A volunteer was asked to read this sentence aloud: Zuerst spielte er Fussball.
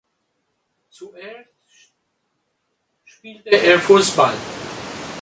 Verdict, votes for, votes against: rejected, 1, 2